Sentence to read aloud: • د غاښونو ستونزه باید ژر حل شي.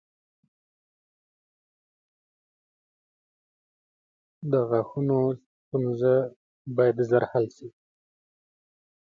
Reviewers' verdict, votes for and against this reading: rejected, 1, 2